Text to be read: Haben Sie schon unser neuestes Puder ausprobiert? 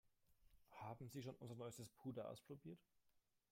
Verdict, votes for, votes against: rejected, 1, 2